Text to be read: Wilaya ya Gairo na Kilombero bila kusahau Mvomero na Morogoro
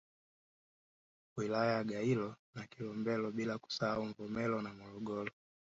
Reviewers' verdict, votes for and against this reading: rejected, 0, 2